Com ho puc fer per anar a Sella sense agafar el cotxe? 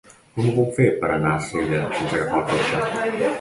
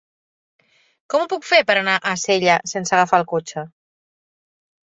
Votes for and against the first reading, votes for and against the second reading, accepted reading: 0, 2, 3, 0, second